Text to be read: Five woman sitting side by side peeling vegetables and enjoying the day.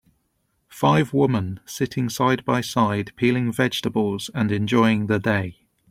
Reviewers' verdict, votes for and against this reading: accepted, 2, 1